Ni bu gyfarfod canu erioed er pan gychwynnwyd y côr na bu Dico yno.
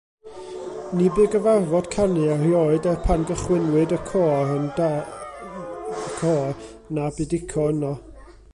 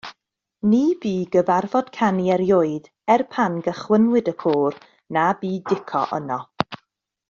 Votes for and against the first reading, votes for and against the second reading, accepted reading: 0, 2, 2, 0, second